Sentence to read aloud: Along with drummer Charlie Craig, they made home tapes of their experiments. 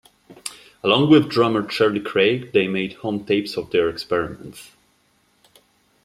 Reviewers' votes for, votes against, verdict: 0, 2, rejected